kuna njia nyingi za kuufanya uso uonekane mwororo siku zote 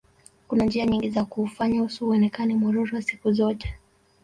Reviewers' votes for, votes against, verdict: 1, 2, rejected